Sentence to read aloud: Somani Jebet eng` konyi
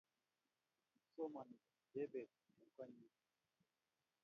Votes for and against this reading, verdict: 0, 2, rejected